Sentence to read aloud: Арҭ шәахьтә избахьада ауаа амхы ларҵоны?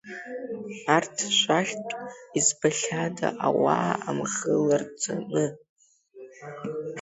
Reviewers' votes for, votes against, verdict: 2, 1, accepted